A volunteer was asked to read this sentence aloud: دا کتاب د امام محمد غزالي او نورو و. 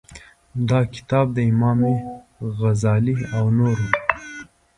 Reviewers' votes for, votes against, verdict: 1, 2, rejected